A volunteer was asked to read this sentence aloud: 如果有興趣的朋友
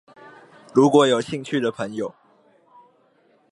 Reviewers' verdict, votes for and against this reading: accepted, 2, 0